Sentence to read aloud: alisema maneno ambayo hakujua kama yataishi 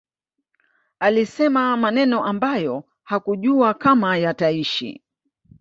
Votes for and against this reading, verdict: 2, 0, accepted